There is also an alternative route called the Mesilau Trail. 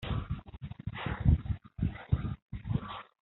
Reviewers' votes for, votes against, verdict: 0, 2, rejected